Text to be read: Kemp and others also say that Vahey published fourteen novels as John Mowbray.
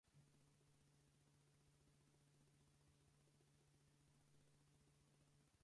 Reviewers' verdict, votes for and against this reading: rejected, 0, 4